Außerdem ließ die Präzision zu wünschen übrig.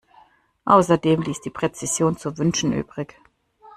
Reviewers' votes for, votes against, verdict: 2, 0, accepted